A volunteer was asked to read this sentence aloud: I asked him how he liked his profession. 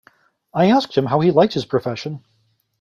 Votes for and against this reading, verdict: 2, 0, accepted